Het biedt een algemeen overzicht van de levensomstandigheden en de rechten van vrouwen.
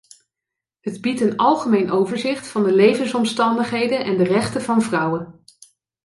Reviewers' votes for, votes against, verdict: 2, 0, accepted